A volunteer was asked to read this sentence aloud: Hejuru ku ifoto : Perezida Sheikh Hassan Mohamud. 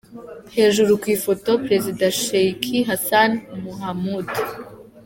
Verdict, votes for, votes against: accepted, 2, 0